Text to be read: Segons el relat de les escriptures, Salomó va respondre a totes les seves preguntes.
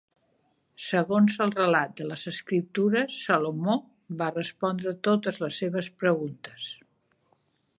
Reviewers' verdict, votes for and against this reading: accepted, 3, 0